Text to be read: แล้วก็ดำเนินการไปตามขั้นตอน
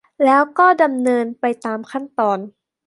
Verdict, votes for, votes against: accepted, 2, 1